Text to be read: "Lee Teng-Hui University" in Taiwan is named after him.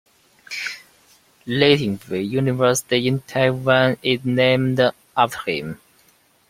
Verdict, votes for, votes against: accepted, 2, 1